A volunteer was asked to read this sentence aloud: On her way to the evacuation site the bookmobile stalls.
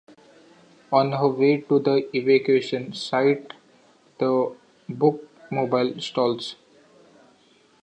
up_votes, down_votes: 0, 2